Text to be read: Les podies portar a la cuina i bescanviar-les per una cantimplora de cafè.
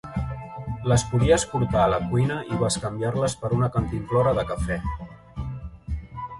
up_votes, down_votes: 0, 2